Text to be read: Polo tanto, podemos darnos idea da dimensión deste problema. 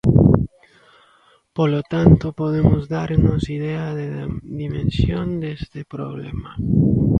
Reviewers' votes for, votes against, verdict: 1, 2, rejected